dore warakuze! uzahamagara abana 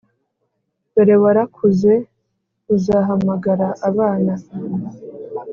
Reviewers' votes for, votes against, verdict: 2, 0, accepted